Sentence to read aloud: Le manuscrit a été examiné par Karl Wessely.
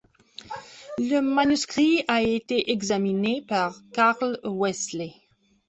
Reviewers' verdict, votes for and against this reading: rejected, 1, 2